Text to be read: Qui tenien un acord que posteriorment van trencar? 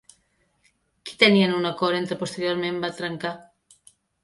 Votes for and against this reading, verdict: 0, 2, rejected